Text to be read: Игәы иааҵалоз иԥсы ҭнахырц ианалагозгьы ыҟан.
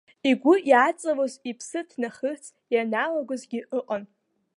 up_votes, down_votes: 0, 2